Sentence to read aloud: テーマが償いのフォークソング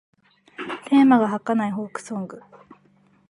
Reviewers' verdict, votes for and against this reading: rejected, 3, 4